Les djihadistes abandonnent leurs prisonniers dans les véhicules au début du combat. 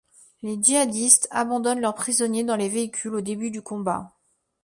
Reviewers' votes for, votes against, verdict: 2, 0, accepted